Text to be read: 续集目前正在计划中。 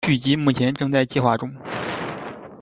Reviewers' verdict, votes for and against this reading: accepted, 3, 0